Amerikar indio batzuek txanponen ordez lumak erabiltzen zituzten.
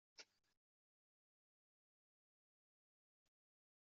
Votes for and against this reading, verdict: 0, 2, rejected